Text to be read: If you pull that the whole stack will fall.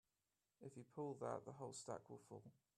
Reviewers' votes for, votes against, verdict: 1, 2, rejected